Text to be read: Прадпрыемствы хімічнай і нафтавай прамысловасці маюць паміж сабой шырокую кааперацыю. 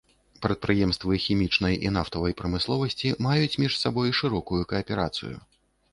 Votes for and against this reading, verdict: 1, 2, rejected